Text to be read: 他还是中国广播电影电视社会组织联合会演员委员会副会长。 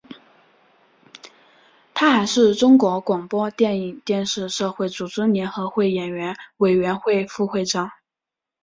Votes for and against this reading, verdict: 3, 0, accepted